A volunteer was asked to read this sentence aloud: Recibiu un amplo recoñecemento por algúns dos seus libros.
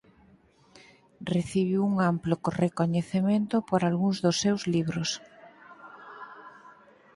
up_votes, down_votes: 0, 4